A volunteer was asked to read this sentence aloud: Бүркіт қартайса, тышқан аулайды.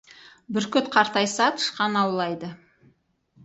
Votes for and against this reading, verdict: 2, 2, rejected